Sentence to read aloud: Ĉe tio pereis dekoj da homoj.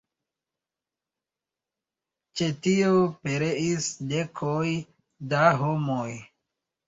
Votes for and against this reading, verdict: 2, 0, accepted